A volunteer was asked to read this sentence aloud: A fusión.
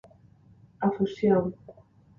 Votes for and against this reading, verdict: 2, 0, accepted